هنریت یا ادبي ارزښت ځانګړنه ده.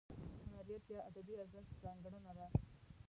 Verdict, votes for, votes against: rejected, 1, 2